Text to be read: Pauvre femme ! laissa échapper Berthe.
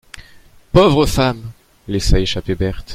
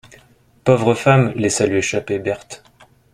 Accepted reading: first